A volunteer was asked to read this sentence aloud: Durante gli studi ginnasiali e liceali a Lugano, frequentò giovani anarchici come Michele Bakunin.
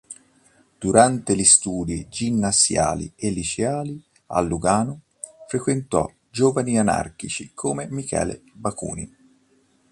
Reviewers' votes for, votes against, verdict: 2, 0, accepted